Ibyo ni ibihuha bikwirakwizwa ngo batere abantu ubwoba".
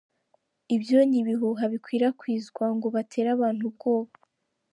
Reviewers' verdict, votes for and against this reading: accepted, 2, 0